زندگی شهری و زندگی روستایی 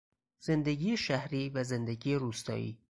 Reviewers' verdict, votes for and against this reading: accepted, 4, 0